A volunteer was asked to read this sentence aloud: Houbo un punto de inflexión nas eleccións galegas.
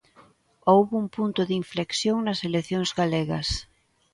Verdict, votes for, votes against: accepted, 2, 0